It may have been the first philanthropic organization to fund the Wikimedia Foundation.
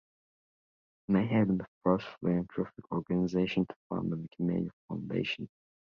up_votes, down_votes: 0, 4